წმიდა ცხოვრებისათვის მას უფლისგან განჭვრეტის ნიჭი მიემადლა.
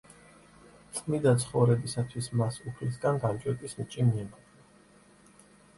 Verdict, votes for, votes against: rejected, 1, 2